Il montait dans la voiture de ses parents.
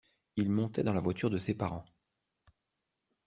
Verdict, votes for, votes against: accepted, 2, 0